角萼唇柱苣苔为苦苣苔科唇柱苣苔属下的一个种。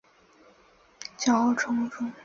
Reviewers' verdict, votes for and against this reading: rejected, 0, 3